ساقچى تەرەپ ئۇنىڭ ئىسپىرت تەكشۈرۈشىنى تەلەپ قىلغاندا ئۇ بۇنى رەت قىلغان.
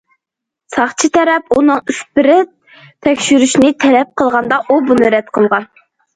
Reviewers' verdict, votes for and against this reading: accepted, 2, 0